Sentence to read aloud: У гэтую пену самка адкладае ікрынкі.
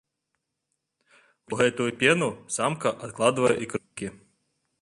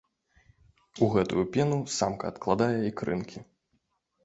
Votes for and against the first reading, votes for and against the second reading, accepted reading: 0, 2, 2, 0, second